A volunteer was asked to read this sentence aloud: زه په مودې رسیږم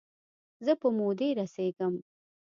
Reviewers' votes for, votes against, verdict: 2, 0, accepted